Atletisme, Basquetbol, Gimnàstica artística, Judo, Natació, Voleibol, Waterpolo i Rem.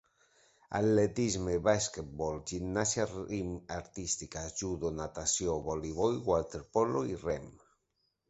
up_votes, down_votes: 0, 2